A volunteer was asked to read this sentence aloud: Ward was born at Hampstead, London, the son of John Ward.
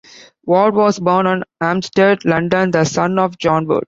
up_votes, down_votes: 2, 0